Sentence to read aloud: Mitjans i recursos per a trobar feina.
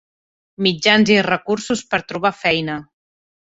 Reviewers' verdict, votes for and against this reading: accepted, 2, 1